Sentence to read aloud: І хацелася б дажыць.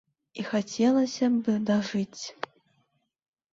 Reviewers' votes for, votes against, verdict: 2, 0, accepted